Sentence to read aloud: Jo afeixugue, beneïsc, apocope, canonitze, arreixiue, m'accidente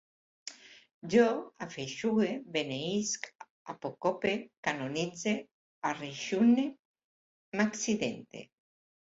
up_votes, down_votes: 0, 2